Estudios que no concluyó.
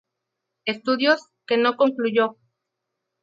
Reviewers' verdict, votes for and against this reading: accepted, 2, 0